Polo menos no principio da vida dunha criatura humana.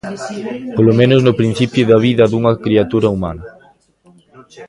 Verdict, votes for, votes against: rejected, 1, 2